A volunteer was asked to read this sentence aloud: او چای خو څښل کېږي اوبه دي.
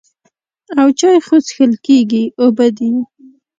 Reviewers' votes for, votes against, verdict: 2, 0, accepted